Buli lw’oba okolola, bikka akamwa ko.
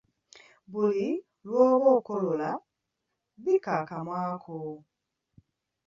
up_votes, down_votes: 2, 1